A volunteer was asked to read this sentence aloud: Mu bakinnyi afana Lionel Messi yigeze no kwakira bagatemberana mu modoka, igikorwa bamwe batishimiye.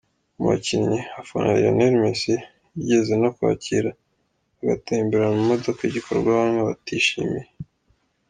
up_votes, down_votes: 2, 1